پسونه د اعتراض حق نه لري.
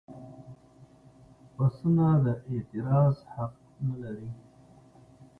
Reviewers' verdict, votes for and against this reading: accepted, 2, 0